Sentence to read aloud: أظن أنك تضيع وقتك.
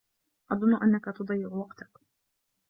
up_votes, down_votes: 2, 0